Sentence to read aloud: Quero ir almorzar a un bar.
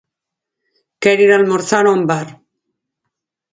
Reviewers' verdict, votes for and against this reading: accepted, 4, 0